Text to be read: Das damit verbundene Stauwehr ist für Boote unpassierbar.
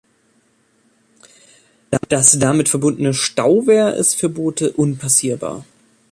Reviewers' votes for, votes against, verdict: 1, 2, rejected